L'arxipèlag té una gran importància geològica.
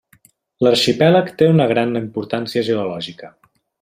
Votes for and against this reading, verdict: 2, 0, accepted